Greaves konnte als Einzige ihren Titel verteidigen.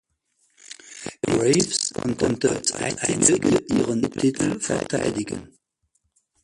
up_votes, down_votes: 0, 4